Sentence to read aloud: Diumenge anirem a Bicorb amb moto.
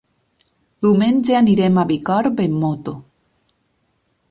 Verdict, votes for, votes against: accepted, 6, 2